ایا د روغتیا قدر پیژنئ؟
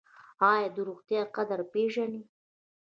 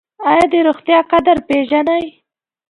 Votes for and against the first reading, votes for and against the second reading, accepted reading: 0, 2, 2, 0, second